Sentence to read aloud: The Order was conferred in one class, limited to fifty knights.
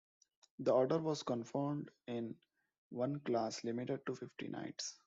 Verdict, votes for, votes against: rejected, 1, 2